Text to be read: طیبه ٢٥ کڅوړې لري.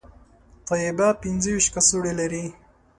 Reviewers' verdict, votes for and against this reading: rejected, 0, 2